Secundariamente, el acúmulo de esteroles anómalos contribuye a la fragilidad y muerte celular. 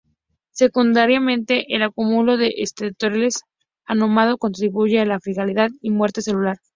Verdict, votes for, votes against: accepted, 4, 2